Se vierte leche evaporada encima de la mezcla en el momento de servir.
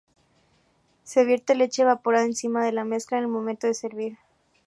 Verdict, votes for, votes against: accepted, 2, 0